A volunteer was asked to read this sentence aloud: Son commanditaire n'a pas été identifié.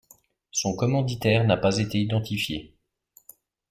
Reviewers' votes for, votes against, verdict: 2, 0, accepted